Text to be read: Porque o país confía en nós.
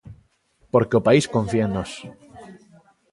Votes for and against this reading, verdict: 2, 0, accepted